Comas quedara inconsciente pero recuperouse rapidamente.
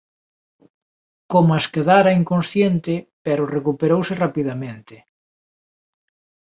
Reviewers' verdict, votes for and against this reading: accepted, 2, 0